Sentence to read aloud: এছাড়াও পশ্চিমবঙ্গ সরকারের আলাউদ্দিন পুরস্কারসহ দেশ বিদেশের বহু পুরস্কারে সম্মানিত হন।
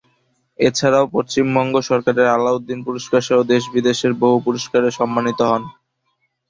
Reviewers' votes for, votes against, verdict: 2, 0, accepted